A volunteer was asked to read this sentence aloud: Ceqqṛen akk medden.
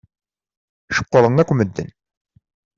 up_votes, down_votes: 2, 0